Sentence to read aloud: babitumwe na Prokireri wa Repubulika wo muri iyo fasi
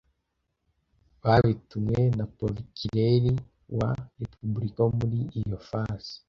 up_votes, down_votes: 2, 0